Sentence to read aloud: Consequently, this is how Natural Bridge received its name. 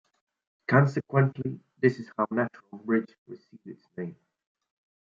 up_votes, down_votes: 0, 2